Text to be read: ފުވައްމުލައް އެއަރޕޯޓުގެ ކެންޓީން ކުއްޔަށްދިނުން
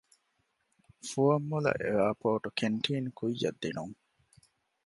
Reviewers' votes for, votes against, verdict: 1, 2, rejected